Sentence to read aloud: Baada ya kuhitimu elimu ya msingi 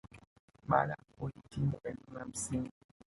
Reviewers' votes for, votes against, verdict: 2, 0, accepted